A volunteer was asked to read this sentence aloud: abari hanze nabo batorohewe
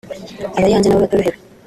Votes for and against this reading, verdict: 2, 1, accepted